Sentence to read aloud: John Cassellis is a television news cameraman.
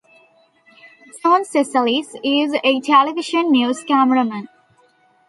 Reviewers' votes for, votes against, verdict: 2, 0, accepted